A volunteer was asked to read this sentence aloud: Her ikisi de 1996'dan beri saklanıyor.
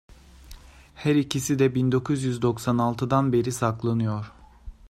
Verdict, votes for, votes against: rejected, 0, 2